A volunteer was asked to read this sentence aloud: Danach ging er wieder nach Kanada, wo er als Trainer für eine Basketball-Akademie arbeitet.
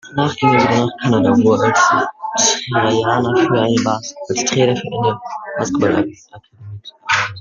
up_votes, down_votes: 0, 2